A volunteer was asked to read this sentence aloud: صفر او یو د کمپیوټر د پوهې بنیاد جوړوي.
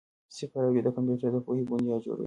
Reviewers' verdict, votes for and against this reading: accepted, 2, 0